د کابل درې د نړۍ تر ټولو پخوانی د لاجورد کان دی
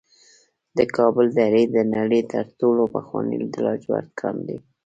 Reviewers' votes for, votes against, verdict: 0, 2, rejected